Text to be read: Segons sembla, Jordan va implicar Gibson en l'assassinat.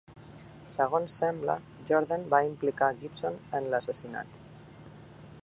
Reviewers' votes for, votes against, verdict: 2, 0, accepted